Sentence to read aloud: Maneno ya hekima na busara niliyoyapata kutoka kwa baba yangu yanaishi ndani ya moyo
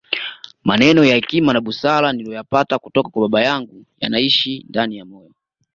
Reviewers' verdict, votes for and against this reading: rejected, 1, 2